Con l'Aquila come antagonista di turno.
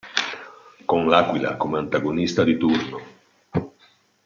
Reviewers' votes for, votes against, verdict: 2, 0, accepted